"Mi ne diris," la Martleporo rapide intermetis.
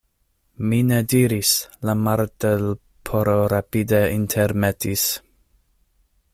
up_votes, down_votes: 0, 2